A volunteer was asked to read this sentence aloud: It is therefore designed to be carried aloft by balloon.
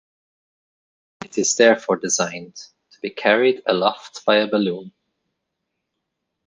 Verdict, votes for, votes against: rejected, 1, 3